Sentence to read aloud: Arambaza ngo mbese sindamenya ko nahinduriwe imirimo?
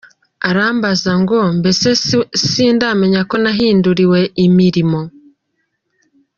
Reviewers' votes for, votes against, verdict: 0, 2, rejected